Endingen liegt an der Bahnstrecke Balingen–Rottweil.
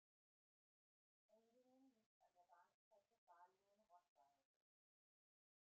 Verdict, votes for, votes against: rejected, 0, 2